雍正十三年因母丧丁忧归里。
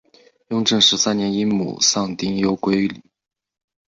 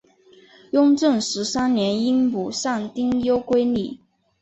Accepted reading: second